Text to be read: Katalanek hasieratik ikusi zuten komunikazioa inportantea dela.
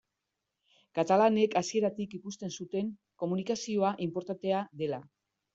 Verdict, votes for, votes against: rejected, 1, 2